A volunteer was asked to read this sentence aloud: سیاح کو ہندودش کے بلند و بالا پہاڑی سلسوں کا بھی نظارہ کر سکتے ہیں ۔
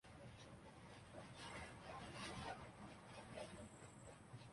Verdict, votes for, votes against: rejected, 0, 2